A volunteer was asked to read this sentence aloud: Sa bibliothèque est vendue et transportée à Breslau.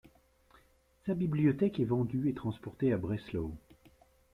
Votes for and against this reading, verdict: 2, 1, accepted